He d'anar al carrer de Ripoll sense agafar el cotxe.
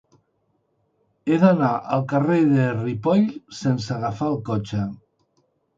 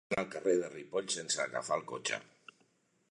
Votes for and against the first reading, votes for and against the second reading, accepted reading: 3, 0, 0, 2, first